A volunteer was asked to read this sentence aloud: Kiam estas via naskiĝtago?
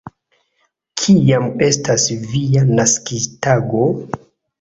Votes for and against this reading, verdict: 3, 0, accepted